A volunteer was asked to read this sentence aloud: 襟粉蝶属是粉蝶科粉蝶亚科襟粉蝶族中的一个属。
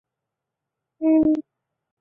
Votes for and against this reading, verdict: 0, 5, rejected